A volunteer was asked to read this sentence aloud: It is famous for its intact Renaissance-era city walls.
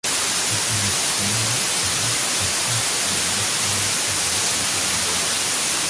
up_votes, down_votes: 0, 2